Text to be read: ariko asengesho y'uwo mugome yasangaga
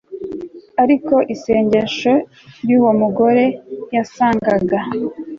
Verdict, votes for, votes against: rejected, 0, 2